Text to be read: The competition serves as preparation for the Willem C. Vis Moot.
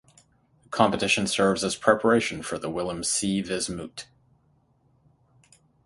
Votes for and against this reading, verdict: 0, 3, rejected